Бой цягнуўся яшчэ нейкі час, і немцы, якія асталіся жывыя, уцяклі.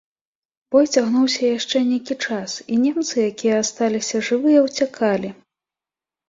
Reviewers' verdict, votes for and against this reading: rejected, 1, 3